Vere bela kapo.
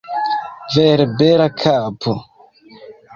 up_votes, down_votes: 1, 2